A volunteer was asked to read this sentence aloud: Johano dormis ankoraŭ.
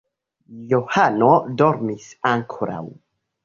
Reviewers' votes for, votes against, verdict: 2, 0, accepted